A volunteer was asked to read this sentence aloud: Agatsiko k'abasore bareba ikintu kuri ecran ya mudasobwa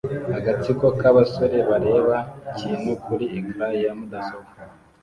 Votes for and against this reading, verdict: 2, 0, accepted